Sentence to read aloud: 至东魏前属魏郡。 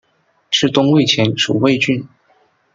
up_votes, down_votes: 2, 0